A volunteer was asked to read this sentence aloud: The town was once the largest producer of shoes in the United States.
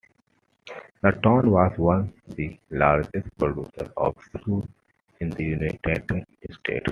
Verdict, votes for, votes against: accepted, 2, 1